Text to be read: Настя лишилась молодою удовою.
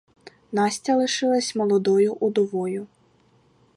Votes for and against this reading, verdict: 4, 0, accepted